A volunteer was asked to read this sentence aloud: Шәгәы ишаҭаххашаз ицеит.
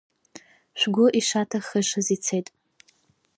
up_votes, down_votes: 0, 2